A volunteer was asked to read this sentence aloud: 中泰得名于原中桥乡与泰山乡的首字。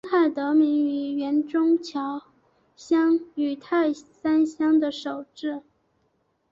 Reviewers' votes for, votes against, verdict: 2, 1, accepted